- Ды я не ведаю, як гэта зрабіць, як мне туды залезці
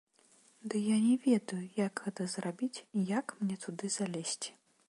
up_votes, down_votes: 2, 0